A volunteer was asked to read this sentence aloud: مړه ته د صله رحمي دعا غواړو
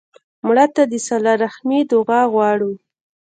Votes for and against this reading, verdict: 2, 1, accepted